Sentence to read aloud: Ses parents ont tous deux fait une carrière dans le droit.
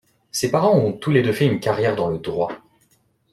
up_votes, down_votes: 0, 2